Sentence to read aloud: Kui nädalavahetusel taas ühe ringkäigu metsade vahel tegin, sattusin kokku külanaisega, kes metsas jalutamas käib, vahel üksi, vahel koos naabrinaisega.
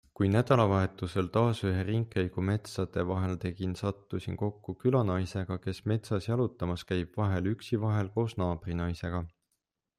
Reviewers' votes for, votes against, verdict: 2, 0, accepted